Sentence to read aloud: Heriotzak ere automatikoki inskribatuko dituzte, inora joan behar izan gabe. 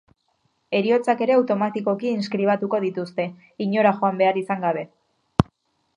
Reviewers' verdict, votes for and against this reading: accepted, 2, 0